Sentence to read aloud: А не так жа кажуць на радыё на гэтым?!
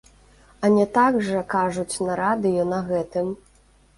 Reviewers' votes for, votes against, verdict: 1, 2, rejected